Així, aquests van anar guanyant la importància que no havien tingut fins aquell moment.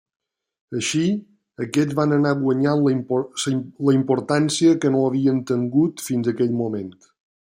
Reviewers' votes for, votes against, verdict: 0, 2, rejected